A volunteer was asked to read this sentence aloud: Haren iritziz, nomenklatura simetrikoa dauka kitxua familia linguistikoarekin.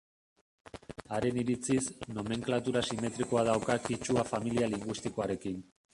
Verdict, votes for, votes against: rejected, 1, 2